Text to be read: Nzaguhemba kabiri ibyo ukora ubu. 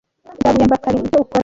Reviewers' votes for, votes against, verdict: 0, 2, rejected